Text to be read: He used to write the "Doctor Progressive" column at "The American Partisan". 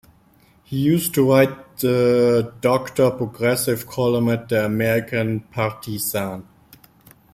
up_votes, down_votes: 2, 0